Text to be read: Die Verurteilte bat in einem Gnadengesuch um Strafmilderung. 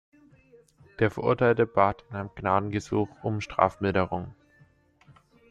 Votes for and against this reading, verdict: 0, 2, rejected